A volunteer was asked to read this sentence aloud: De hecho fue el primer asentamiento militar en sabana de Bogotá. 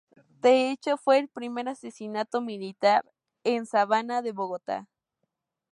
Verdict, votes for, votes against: rejected, 0, 4